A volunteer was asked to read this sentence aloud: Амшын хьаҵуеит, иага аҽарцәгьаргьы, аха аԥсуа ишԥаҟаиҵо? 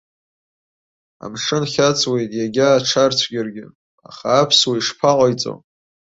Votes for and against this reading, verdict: 2, 1, accepted